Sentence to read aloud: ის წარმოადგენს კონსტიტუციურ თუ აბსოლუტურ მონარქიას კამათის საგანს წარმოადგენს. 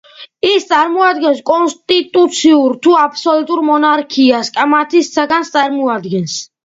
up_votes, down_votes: 2, 1